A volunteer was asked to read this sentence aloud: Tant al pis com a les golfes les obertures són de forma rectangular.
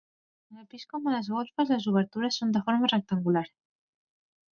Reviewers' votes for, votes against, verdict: 0, 2, rejected